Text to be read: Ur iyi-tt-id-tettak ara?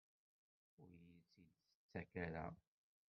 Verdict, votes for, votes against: rejected, 0, 2